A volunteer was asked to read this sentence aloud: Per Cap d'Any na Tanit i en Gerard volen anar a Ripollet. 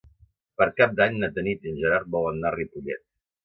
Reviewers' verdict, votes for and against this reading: accepted, 2, 1